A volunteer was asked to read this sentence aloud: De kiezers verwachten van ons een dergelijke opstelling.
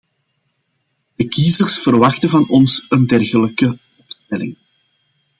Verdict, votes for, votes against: rejected, 0, 2